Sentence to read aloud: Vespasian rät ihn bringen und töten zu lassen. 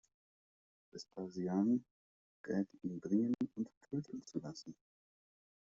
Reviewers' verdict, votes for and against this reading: rejected, 1, 2